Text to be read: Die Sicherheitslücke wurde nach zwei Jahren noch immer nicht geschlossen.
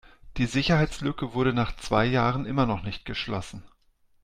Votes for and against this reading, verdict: 0, 2, rejected